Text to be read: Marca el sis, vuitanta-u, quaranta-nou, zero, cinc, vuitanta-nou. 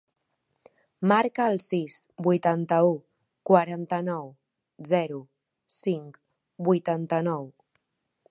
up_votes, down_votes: 3, 0